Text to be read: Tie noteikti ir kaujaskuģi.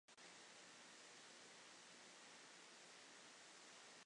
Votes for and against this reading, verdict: 0, 2, rejected